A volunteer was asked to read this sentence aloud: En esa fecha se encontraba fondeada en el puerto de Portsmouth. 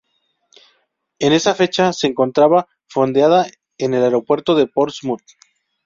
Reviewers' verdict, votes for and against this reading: rejected, 0, 4